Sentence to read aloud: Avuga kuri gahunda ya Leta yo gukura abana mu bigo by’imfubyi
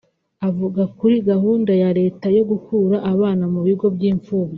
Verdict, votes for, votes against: accepted, 2, 0